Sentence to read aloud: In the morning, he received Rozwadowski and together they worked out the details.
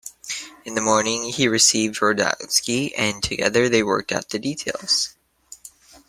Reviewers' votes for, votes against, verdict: 2, 1, accepted